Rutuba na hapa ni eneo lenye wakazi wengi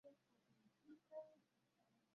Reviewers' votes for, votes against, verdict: 0, 2, rejected